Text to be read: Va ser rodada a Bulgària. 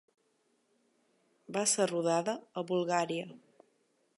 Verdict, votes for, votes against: accepted, 2, 0